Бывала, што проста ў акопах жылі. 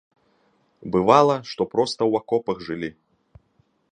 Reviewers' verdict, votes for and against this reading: accepted, 2, 0